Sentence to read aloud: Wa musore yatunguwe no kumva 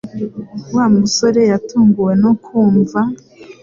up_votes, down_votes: 2, 0